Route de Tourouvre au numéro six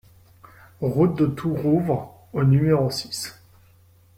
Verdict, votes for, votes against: accepted, 2, 0